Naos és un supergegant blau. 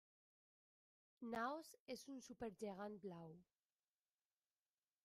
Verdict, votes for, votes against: rejected, 1, 2